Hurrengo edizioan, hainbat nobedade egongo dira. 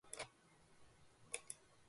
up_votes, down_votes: 0, 3